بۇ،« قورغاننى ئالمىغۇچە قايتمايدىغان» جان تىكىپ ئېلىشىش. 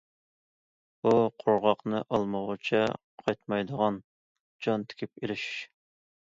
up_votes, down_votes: 0, 2